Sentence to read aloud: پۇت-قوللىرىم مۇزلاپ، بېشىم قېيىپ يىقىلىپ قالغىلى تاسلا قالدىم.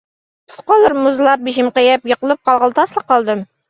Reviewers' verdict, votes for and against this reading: rejected, 1, 2